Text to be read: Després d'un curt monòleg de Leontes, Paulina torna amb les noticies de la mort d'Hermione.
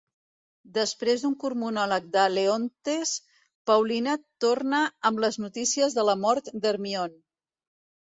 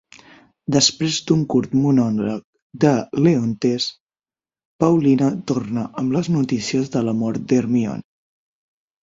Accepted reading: first